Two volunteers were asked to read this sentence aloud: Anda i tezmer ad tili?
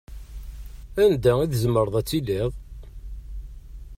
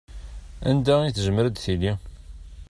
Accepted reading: second